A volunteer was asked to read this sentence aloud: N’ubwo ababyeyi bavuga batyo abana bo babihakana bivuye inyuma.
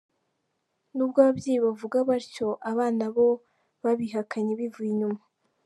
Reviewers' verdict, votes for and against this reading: rejected, 0, 2